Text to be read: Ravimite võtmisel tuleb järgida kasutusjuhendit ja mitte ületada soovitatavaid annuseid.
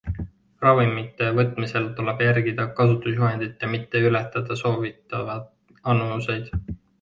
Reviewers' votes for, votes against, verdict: 0, 2, rejected